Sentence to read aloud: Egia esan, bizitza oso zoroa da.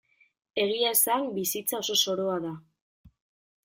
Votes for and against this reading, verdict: 2, 0, accepted